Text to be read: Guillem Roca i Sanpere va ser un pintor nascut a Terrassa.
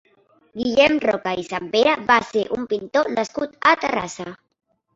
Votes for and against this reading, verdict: 1, 2, rejected